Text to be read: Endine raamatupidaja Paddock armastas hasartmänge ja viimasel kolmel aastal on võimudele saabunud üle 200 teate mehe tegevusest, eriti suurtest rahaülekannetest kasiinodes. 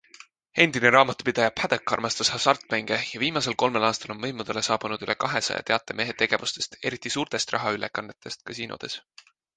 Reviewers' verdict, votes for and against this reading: rejected, 0, 2